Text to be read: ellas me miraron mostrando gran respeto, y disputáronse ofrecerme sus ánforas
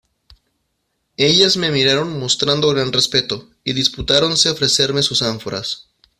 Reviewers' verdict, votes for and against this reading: accepted, 2, 0